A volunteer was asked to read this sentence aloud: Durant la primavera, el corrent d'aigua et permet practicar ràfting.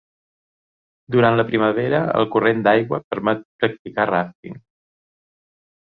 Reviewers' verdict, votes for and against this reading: rejected, 0, 4